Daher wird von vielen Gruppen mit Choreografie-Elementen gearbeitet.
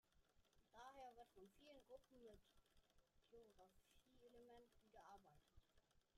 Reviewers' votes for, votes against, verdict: 0, 2, rejected